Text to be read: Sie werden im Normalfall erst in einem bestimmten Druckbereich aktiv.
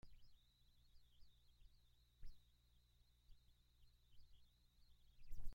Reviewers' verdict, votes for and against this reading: rejected, 0, 2